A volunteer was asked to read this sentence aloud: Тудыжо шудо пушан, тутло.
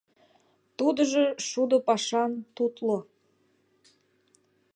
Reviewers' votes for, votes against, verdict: 0, 2, rejected